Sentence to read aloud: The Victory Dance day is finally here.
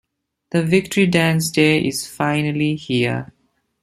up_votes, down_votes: 2, 0